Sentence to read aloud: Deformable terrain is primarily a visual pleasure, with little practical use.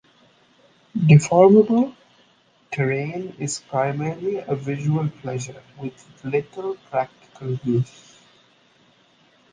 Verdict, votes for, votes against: accepted, 2, 0